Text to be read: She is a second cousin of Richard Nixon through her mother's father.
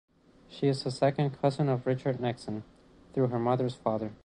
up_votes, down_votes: 2, 1